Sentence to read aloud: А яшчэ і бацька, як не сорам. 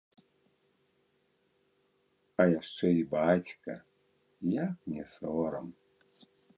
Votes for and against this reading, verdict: 0, 2, rejected